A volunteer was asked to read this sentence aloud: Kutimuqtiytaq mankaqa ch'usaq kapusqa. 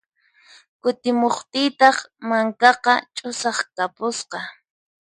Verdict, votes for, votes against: accepted, 4, 0